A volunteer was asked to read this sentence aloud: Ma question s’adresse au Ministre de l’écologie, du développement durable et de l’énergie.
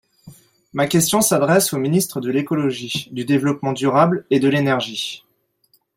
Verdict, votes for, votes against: accepted, 3, 0